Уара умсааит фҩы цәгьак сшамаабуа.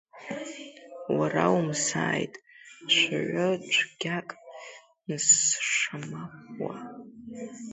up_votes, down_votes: 0, 2